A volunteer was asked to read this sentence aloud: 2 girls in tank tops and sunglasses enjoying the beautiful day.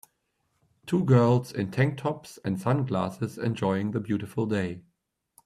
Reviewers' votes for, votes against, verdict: 0, 2, rejected